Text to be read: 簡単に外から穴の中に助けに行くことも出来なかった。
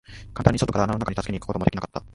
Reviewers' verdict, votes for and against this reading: rejected, 1, 2